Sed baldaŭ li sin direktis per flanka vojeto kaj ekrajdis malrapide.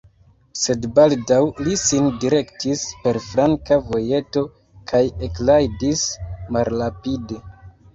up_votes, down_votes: 0, 2